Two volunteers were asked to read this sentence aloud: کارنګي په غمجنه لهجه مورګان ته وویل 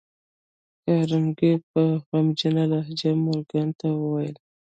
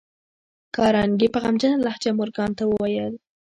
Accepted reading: first